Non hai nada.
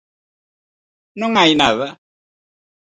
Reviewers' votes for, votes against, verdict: 4, 0, accepted